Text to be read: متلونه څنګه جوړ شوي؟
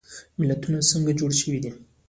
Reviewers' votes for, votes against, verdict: 0, 2, rejected